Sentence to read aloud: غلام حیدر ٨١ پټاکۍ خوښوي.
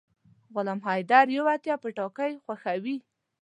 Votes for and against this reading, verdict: 0, 2, rejected